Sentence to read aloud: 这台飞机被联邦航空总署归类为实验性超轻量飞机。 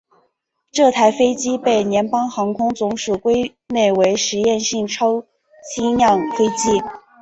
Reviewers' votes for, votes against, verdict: 5, 1, accepted